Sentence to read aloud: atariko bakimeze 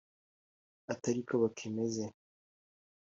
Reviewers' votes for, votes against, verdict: 2, 0, accepted